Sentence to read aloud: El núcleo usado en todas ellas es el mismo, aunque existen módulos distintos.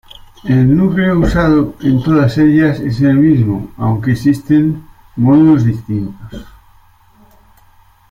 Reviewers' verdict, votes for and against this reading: rejected, 0, 2